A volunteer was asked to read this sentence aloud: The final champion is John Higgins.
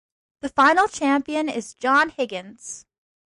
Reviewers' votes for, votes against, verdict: 2, 0, accepted